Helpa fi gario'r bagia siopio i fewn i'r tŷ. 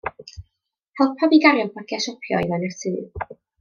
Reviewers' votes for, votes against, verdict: 2, 0, accepted